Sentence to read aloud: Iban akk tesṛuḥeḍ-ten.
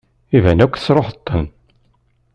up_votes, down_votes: 2, 0